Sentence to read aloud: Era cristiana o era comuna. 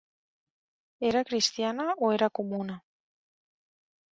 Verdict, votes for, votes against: accepted, 3, 0